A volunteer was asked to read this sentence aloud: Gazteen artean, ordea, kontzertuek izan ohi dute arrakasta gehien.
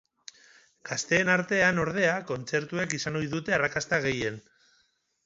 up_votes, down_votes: 4, 0